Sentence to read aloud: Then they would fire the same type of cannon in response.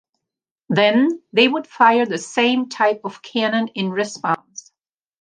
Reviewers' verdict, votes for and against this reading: accepted, 2, 0